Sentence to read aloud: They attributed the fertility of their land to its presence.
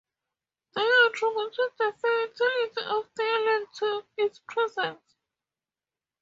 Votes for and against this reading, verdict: 0, 4, rejected